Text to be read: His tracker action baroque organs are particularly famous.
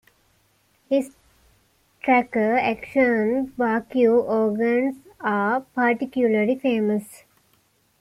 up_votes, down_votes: 1, 2